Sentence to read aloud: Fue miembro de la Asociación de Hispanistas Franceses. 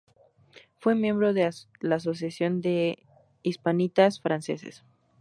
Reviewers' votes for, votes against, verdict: 0, 2, rejected